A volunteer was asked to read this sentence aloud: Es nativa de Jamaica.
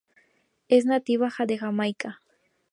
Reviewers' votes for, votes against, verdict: 2, 0, accepted